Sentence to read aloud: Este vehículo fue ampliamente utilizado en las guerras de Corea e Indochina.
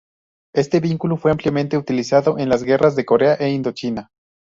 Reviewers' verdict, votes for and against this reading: rejected, 0, 2